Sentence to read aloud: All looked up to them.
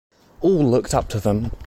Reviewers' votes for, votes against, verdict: 2, 0, accepted